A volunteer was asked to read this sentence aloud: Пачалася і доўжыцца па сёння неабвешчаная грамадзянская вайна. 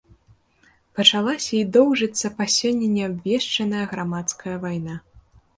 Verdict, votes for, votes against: rejected, 0, 2